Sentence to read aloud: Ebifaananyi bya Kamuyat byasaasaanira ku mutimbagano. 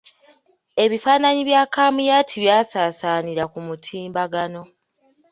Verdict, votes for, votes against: accepted, 2, 0